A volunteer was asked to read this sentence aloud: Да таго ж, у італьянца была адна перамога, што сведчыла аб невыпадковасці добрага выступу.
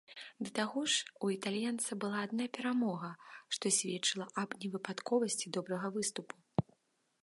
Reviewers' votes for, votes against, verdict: 2, 0, accepted